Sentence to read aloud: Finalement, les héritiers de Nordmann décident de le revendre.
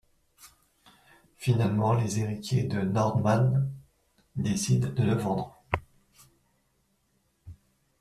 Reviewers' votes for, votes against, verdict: 0, 2, rejected